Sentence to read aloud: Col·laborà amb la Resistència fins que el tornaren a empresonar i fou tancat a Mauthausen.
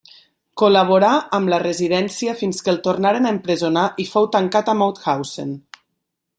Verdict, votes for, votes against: rejected, 0, 2